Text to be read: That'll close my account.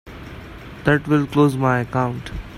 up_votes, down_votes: 1, 2